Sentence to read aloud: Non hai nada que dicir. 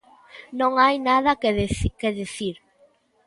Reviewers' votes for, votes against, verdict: 0, 2, rejected